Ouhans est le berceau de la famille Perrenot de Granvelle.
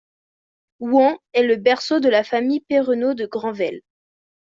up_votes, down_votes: 2, 0